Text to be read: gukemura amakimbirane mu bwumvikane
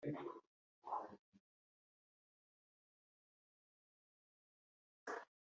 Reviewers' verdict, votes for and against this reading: rejected, 0, 2